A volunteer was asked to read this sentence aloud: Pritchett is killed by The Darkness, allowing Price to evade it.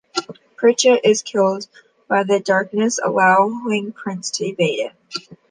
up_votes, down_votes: 0, 2